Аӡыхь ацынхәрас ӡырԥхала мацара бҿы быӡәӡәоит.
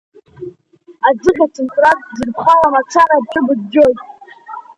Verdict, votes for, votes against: accepted, 3, 2